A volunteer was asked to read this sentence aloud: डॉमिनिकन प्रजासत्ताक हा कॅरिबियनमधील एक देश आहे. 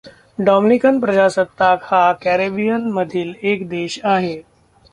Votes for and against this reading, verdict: 0, 2, rejected